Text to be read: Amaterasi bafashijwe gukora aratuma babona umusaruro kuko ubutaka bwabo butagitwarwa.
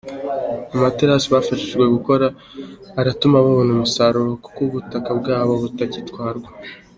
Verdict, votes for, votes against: accepted, 3, 0